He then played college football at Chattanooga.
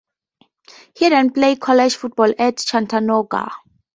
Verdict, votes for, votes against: accepted, 2, 0